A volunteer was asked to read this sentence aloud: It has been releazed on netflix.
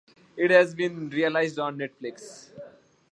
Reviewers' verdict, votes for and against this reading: accepted, 2, 0